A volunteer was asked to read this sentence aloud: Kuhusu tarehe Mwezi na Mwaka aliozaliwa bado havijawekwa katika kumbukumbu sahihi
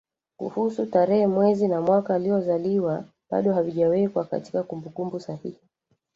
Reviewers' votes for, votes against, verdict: 1, 2, rejected